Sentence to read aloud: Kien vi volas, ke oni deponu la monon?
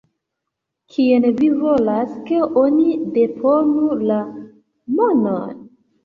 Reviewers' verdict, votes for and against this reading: rejected, 0, 2